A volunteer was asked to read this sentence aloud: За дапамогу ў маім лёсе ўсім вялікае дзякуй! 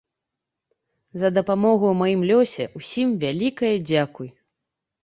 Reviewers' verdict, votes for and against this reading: accepted, 2, 0